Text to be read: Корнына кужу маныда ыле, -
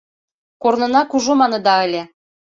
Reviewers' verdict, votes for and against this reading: accepted, 3, 0